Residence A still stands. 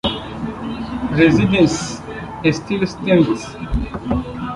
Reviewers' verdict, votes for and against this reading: rejected, 0, 2